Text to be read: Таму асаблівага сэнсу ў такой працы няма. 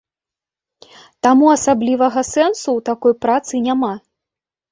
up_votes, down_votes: 2, 0